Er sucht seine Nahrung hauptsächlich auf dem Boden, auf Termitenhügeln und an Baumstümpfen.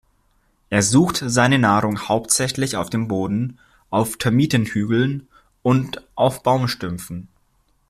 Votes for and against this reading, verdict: 0, 2, rejected